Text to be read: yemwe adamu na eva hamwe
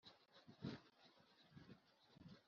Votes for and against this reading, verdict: 1, 2, rejected